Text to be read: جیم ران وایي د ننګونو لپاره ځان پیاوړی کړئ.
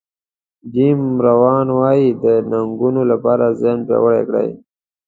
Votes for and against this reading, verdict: 1, 2, rejected